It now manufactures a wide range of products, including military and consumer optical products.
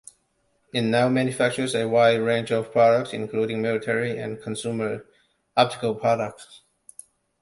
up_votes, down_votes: 2, 1